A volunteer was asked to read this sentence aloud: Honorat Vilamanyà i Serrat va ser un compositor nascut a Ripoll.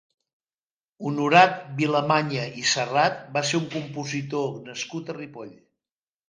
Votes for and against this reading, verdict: 2, 0, accepted